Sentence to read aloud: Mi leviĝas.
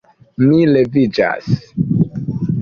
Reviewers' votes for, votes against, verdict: 2, 1, accepted